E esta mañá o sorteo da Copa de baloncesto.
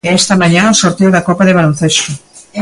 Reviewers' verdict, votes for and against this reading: accepted, 2, 1